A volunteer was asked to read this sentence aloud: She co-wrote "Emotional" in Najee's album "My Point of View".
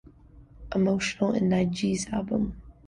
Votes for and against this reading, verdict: 0, 2, rejected